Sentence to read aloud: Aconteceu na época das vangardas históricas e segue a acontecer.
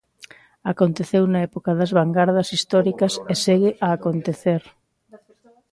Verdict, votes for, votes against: rejected, 0, 2